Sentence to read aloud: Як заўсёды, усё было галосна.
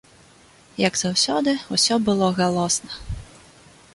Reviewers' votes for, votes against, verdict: 2, 0, accepted